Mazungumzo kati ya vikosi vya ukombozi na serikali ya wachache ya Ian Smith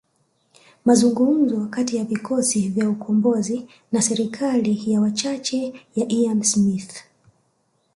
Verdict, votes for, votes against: accepted, 4, 1